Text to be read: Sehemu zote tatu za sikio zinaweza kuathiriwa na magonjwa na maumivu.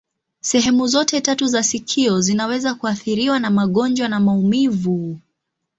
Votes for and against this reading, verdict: 2, 0, accepted